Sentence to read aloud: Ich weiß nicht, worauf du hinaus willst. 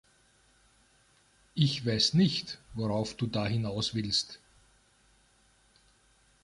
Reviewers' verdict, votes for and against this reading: rejected, 0, 2